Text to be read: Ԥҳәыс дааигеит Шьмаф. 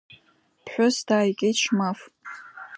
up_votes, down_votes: 2, 0